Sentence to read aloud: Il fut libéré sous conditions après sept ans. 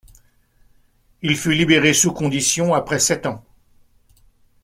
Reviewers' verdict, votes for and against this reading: accepted, 2, 0